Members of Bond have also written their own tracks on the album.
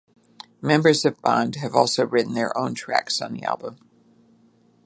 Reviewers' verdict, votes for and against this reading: accepted, 2, 0